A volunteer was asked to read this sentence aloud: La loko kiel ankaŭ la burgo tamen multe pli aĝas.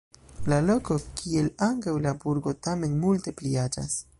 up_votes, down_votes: 3, 0